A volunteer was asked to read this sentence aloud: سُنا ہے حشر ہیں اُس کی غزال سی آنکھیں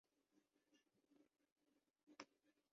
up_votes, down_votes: 0, 2